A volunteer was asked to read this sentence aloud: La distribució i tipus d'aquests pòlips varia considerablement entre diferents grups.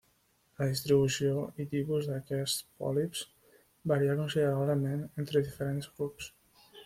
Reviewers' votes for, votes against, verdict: 0, 2, rejected